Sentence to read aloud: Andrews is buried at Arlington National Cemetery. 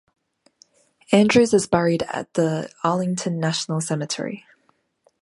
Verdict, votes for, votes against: rejected, 0, 2